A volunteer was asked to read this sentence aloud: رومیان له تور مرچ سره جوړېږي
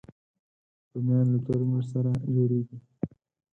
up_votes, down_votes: 4, 0